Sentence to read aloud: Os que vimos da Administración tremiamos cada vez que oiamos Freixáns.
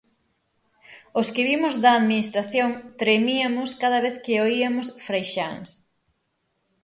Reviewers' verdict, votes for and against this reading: rejected, 3, 6